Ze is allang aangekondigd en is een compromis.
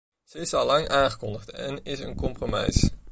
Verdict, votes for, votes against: rejected, 0, 2